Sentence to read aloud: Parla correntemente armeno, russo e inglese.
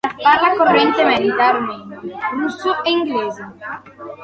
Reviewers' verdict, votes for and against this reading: accepted, 2, 0